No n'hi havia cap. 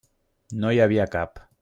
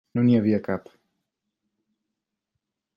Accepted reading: second